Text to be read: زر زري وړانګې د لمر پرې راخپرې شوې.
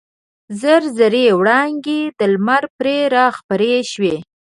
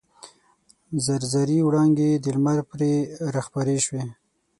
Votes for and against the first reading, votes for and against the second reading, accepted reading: 1, 2, 6, 0, second